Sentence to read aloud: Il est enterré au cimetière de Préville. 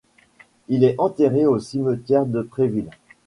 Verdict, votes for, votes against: accepted, 2, 0